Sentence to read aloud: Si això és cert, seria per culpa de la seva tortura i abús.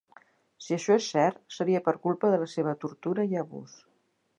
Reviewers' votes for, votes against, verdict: 4, 0, accepted